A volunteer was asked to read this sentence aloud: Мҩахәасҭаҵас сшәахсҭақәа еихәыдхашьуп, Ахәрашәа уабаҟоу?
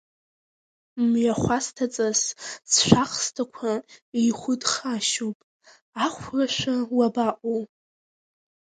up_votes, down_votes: 2, 1